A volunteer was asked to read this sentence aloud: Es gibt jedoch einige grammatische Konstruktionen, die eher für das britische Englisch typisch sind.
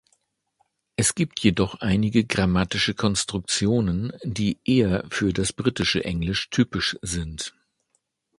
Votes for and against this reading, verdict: 2, 0, accepted